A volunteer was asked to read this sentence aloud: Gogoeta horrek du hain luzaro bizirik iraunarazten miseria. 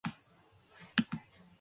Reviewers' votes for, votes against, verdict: 1, 2, rejected